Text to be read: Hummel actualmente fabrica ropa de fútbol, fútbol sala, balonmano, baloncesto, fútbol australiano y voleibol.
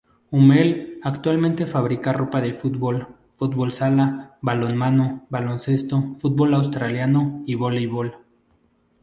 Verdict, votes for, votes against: rejected, 0, 2